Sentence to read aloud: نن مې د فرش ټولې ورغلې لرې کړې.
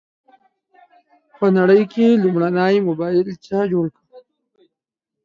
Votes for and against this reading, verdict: 0, 2, rejected